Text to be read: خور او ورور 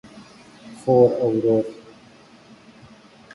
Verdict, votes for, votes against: accepted, 2, 0